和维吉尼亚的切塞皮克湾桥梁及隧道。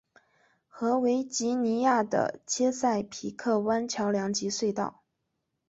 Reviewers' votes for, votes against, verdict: 2, 0, accepted